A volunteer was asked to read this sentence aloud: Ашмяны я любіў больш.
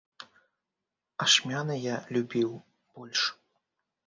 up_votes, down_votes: 3, 0